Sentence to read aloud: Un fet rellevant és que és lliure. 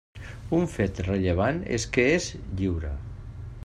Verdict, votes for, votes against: accepted, 3, 0